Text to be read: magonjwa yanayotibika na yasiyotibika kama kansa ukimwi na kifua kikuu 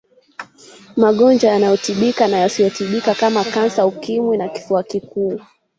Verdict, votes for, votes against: rejected, 0, 2